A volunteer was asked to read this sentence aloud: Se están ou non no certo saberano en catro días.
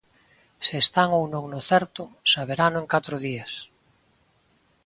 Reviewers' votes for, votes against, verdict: 2, 0, accepted